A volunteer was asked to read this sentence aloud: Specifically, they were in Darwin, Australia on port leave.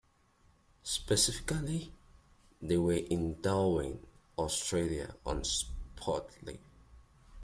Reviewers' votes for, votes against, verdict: 0, 2, rejected